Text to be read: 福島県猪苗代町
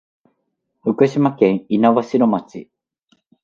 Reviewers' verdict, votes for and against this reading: accepted, 2, 0